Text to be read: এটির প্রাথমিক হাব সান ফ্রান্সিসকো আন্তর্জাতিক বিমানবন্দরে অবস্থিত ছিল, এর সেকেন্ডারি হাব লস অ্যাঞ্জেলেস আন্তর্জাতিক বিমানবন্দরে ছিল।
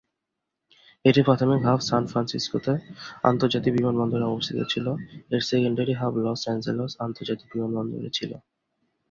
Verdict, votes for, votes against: rejected, 0, 2